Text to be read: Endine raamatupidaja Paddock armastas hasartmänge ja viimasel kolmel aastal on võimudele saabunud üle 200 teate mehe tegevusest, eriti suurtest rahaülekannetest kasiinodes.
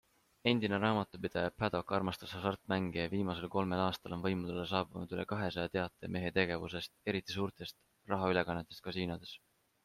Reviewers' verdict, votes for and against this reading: rejected, 0, 2